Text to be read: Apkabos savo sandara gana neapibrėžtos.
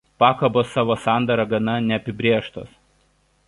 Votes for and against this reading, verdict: 0, 2, rejected